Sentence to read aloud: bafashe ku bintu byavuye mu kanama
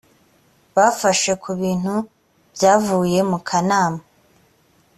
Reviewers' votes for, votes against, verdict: 3, 0, accepted